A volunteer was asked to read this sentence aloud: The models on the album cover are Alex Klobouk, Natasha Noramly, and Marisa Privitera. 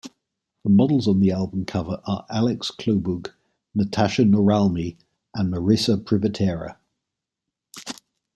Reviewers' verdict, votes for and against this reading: accepted, 2, 0